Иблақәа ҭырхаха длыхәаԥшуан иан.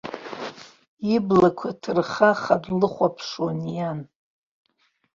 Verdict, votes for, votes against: accepted, 2, 1